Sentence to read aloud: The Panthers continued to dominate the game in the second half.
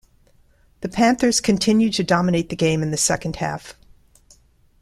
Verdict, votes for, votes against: accepted, 2, 0